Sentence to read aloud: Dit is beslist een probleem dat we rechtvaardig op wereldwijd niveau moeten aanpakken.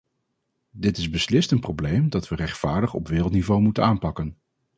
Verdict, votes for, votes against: rejected, 0, 2